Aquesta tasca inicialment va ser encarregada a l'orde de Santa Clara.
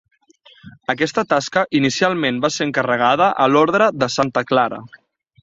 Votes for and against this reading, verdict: 3, 0, accepted